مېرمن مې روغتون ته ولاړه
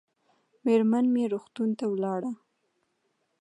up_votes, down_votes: 2, 0